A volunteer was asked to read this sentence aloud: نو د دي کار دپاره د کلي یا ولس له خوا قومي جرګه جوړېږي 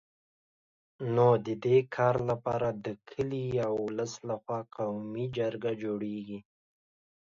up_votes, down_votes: 2, 0